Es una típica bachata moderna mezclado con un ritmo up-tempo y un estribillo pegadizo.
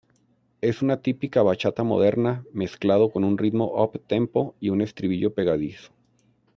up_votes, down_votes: 2, 0